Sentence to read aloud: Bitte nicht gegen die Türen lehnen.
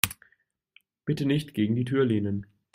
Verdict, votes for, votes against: rejected, 1, 2